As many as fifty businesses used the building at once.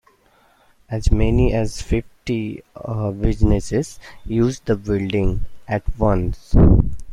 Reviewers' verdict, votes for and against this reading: rejected, 1, 2